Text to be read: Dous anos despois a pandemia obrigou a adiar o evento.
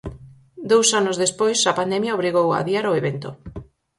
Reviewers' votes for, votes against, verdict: 4, 0, accepted